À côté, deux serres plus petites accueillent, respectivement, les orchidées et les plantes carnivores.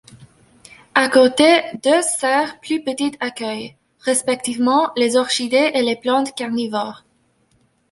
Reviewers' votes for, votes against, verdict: 0, 2, rejected